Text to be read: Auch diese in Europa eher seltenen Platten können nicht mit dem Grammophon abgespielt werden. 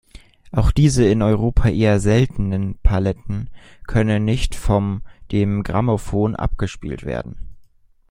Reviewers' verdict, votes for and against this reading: rejected, 0, 2